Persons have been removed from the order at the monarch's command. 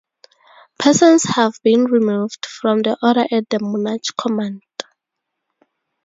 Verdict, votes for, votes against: accepted, 4, 2